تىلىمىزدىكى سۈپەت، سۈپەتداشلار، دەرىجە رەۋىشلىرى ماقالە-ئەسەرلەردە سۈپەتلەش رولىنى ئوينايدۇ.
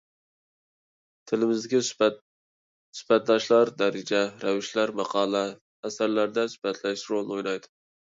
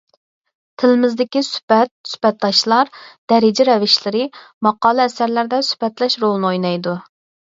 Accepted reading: second